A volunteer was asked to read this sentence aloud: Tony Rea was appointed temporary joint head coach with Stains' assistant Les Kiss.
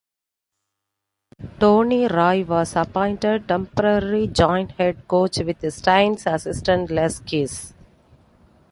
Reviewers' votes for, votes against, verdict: 2, 0, accepted